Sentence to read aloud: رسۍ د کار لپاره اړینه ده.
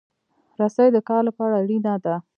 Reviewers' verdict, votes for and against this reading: accepted, 2, 0